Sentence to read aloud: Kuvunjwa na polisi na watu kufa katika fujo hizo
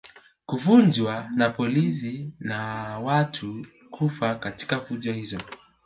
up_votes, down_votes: 3, 1